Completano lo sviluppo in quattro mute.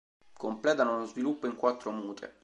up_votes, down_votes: 2, 0